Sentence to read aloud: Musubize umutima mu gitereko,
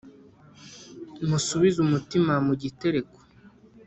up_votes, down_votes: 2, 0